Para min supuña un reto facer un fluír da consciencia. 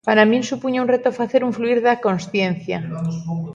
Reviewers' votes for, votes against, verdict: 0, 2, rejected